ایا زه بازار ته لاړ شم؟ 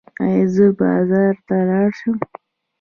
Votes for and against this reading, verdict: 1, 2, rejected